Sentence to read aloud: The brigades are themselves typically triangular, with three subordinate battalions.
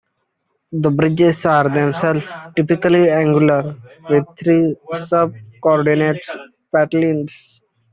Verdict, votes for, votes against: rejected, 1, 2